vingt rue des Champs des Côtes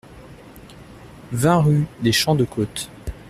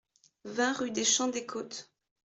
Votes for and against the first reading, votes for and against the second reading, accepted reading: 0, 2, 2, 0, second